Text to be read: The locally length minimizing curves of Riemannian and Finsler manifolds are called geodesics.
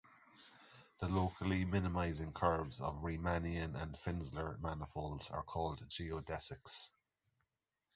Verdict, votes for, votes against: rejected, 0, 2